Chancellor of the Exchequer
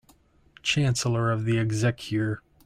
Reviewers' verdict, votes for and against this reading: accepted, 2, 0